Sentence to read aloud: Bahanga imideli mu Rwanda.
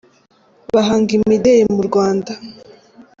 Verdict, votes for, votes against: accepted, 2, 0